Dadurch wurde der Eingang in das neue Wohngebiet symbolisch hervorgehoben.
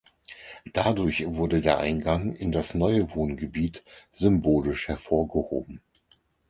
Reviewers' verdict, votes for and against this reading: accepted, 4, 0